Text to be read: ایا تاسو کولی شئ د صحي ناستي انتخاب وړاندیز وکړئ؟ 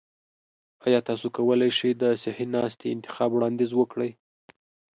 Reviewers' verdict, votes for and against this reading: accepted, 2, 0